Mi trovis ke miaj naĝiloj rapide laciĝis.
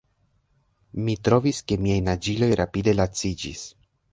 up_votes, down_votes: 1, 2